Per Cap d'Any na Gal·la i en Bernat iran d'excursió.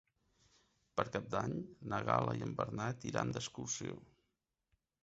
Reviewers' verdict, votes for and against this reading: accepted, 2, 1